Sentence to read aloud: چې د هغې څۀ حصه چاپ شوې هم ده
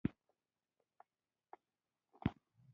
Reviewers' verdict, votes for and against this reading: rejected, 0, 2